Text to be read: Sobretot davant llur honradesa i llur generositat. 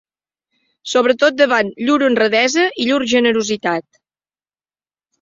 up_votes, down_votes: 3, 0